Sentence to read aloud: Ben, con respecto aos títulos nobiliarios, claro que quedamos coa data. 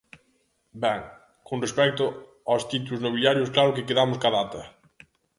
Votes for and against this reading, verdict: 1, 3, rejected